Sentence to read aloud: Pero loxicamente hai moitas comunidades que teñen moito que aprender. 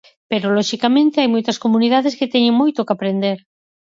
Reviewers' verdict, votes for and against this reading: accepted, 4, 0